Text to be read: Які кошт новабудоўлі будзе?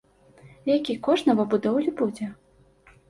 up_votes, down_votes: 2, 0